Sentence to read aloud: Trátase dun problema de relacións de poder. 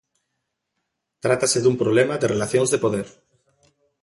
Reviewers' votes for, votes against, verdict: 2, 0, accepted